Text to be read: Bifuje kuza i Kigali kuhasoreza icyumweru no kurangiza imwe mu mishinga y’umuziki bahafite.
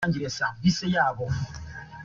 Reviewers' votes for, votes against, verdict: 0, 2, rejected